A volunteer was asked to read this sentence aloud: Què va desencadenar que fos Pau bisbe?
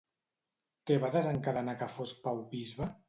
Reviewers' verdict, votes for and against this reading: rejected, 0, 2